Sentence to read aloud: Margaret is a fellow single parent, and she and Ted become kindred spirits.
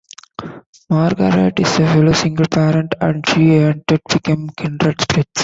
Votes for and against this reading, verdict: 2, 1, accepted